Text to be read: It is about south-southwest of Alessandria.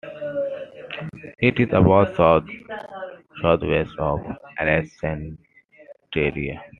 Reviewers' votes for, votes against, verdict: 0, 2, rejected